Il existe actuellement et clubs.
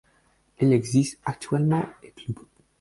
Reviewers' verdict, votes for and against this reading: rejected, 0, 4